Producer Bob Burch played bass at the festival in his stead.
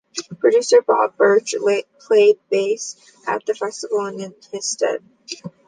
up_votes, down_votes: 0, 2